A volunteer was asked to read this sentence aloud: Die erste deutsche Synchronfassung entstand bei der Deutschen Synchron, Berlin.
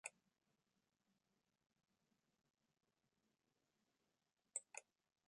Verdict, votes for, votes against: rejected, 0, 2